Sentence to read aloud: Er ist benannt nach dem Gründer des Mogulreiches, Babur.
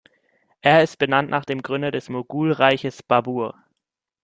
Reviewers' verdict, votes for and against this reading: accepted, 2, 0